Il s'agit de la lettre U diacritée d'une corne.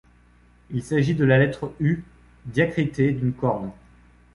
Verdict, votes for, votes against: accepted, 2, 0